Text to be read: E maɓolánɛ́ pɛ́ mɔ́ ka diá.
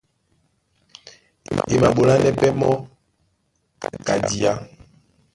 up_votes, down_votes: 0, 2